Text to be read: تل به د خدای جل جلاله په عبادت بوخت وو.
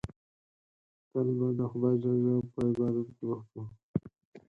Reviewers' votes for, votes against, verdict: 4, 2, accepted